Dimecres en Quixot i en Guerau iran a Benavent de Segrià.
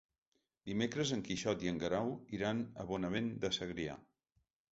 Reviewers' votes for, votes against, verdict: 1, 3, rejected